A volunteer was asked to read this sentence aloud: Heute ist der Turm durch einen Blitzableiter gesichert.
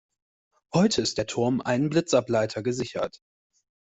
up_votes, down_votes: 0, 2